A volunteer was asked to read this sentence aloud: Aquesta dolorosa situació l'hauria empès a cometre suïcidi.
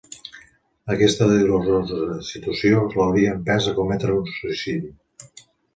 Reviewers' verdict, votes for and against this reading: rejected, 0, 2